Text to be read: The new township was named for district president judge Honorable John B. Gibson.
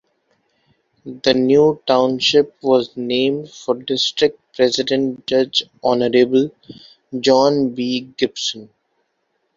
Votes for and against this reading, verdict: 1, 2, rejected